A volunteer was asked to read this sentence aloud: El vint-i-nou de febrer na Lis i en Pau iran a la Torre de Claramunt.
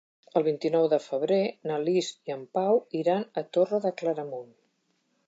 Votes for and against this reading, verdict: 1, 2, rejected